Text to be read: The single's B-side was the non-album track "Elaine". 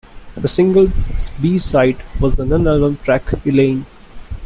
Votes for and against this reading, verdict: 2, 0, accepted